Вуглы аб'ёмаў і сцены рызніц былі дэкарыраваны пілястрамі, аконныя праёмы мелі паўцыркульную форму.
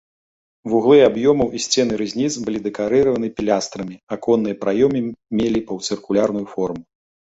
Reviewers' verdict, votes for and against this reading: rejected, 0, 2